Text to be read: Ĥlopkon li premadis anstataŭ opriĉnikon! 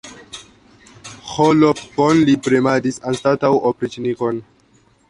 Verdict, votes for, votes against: rejected, 1, 2